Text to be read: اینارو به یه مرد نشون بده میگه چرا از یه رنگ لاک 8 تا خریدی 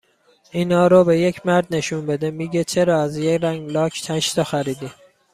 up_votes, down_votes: 0, 2